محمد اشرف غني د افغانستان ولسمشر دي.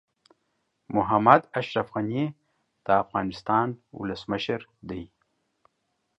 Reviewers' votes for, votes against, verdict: 2, 0, accepted